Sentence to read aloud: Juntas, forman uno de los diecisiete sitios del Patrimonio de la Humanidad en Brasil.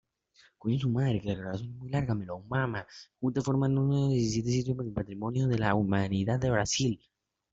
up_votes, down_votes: 1, 2